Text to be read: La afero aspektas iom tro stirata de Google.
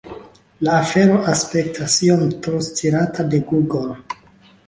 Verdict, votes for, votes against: accepted, 2, 0